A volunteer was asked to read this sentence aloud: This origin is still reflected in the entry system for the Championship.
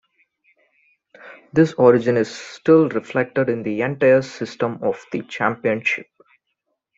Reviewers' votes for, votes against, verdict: 0, 2, rejected